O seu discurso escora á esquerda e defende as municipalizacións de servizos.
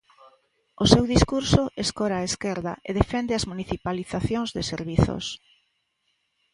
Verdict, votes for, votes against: accepted, 3, 0